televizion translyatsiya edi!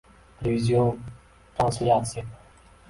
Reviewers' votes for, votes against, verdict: 1, 2, rejected